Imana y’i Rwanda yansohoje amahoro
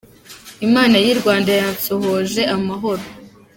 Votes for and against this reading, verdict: 2, 0, accepted